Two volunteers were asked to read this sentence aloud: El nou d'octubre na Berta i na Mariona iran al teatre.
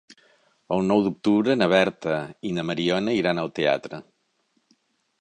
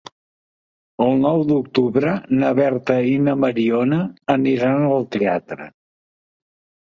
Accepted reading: first